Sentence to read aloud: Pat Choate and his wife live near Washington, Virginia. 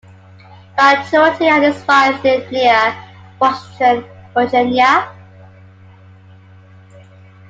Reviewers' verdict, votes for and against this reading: accepted, 2, 1